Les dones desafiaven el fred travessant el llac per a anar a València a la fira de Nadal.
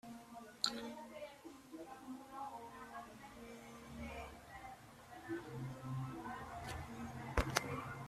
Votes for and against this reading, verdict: 0, 2, rejected